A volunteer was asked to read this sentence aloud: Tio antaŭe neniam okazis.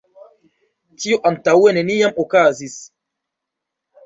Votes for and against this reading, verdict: 2, 3, rejected